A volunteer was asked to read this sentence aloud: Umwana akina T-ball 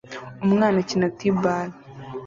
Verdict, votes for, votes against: accepted, 2, 0